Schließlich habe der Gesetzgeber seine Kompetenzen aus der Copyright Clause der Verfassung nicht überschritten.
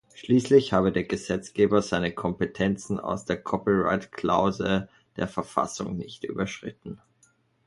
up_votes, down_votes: 1, 2